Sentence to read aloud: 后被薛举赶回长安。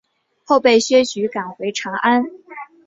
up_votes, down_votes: 2, 0